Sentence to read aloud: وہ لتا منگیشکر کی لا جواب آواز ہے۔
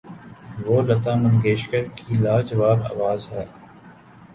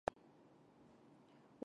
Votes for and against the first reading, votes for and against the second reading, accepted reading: 2, 0, 0, 4, first